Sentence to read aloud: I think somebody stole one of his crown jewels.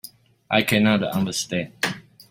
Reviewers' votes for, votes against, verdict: 0, 3, rejected